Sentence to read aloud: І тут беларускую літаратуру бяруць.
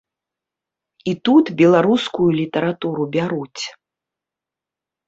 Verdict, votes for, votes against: accepted, 2, 0